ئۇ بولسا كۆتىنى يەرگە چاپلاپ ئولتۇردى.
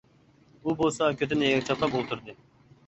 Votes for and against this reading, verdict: 0, 2, rejected